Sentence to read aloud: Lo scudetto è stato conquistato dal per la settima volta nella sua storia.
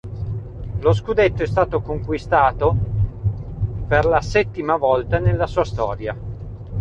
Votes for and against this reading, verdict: 1, 2, rejected